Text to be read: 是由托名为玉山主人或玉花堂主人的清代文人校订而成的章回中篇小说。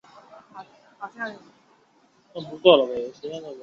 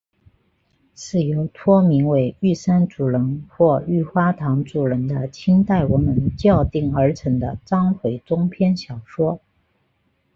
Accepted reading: second